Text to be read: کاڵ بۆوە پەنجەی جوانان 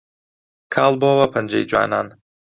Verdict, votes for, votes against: accepted, 2, 0